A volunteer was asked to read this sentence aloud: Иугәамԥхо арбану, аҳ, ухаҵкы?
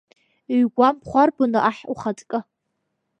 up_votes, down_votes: 2, 3